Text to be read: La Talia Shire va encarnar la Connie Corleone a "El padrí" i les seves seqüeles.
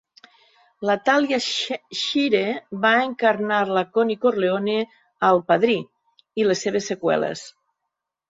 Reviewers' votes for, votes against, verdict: 1, 2, rejected